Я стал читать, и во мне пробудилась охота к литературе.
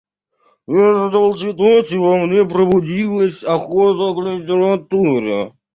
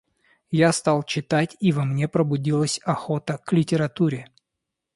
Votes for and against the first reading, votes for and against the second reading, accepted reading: 0, 2, 2, 0, second